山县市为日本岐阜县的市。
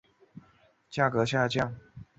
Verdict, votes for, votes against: rejected, 0, 2